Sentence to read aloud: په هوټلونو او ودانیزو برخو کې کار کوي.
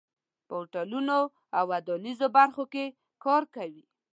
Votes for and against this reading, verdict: 2, 0, accepted